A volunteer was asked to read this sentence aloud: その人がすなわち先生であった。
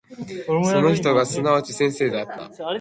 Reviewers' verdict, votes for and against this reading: rejected, 3, 3